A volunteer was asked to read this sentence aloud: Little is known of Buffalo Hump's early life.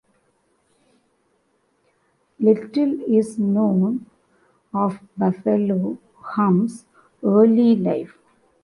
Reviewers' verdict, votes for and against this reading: accepted, 2, 1